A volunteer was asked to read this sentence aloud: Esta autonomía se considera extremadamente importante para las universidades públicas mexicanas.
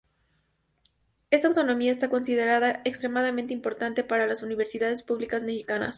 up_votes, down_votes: 0, 2